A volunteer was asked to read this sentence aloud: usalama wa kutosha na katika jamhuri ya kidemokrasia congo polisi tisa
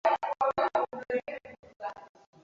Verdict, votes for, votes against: rejected, 0, 2